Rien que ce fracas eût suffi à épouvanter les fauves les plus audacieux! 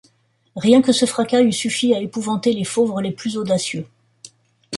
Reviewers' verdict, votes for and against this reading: rejected, 1, 2